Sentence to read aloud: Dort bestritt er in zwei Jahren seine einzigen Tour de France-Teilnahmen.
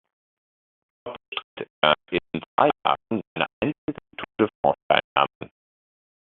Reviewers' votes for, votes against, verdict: 0, 2, rejected